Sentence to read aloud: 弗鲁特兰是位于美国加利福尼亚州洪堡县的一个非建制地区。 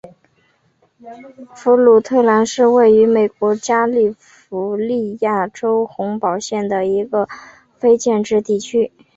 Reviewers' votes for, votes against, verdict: 3, 1, accepted